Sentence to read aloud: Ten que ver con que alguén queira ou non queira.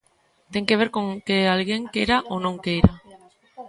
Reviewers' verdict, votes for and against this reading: rejected, 0, 2